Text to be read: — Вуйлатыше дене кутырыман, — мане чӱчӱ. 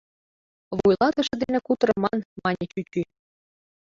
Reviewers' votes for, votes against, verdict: 1, 2, rejected